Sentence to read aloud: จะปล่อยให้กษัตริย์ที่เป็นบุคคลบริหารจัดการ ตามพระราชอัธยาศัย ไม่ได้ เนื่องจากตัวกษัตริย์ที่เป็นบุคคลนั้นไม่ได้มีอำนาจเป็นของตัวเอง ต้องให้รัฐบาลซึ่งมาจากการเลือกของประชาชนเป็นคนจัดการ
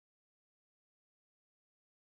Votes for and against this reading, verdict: 1, 2, rejected